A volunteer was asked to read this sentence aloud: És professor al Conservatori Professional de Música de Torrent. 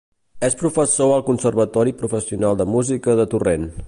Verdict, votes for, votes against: accepted, 2, 0